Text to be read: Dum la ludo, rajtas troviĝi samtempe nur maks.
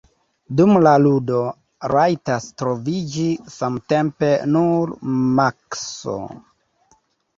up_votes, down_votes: 1, 2